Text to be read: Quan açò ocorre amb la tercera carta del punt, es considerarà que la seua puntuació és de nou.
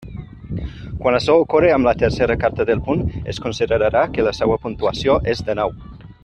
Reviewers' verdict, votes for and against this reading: accepted, 2, 1